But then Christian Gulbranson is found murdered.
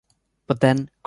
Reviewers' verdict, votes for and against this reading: rejected, 0, 2